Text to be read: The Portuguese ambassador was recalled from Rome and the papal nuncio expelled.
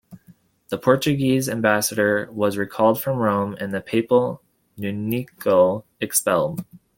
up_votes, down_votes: 0, 2